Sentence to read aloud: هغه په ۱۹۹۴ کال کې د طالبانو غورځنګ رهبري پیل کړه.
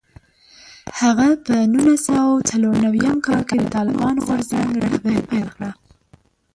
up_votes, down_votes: 0, 2